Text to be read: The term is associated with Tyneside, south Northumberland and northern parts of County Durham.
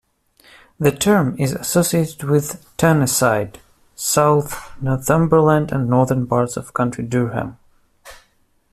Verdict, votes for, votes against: rejected, 0, 2